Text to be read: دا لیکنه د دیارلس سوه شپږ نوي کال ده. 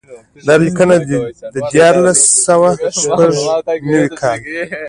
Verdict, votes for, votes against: accepted, 2, 0